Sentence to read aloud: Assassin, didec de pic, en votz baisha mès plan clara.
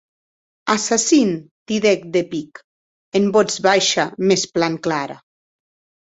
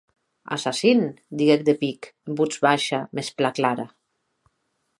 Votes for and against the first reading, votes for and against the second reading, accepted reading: 2, 2, 6, 0, second